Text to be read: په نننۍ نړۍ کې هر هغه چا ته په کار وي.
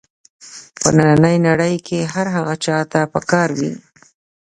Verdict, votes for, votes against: accepted, 2, 0